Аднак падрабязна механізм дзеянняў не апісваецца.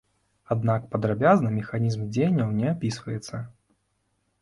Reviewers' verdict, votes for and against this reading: accepted, 2, 0